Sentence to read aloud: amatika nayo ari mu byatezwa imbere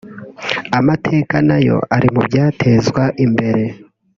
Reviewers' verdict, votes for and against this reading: rejected, 1, 2